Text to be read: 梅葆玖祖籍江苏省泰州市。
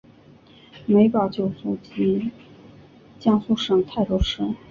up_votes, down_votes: 4, 1